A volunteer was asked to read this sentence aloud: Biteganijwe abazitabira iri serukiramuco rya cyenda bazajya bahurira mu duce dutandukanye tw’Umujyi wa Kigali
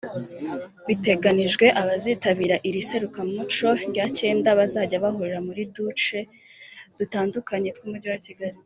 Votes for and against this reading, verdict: 1, 3, rejected